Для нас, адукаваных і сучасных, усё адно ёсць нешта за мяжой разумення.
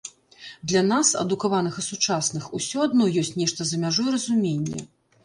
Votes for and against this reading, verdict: 2, 0, accepted